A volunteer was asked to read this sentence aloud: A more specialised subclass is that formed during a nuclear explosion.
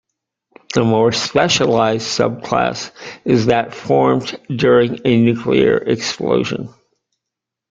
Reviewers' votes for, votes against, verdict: 2, 0, accepted